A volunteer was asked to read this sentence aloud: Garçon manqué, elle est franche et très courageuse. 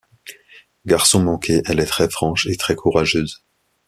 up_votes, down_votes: 0, 2